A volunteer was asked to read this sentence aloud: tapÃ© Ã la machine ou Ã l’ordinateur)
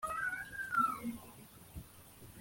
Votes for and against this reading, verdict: 0, 2, rejected